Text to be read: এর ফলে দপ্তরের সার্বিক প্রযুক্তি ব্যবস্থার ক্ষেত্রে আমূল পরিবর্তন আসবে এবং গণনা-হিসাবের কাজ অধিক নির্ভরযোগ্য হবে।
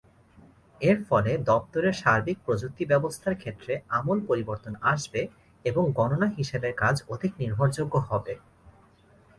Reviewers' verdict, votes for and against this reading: accepted, 2, 0